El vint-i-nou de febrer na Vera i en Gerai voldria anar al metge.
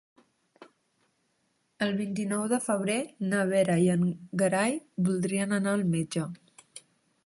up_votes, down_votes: 0, 2